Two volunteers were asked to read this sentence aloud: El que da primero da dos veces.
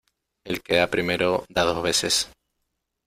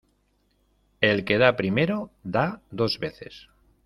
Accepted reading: second